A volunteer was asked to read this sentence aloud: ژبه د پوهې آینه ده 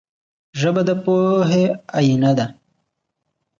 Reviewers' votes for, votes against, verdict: 2, 0, accepted